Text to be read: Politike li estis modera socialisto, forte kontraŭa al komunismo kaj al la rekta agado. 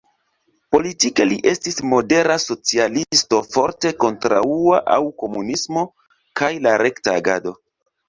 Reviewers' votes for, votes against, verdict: 1, 3, rejected